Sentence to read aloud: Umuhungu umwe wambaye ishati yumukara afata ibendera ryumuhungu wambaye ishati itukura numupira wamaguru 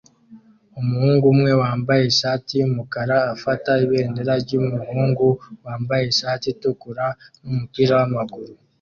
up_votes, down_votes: 2, 0